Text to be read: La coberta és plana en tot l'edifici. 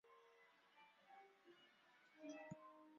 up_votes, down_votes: 0, 2